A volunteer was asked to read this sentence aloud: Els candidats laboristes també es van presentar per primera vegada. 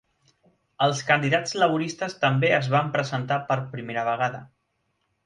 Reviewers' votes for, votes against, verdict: 3, 0, accepted